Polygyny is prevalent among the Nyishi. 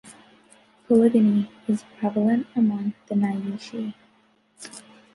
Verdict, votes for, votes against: rejected, 1, 2